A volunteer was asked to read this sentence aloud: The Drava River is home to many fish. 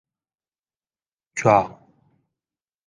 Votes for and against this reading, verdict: 0, 2, rejected